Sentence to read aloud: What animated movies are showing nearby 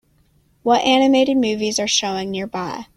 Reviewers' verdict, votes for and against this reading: accepted, 2, 0